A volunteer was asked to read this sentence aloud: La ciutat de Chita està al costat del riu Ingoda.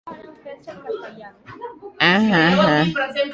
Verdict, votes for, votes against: rejected, 0, 2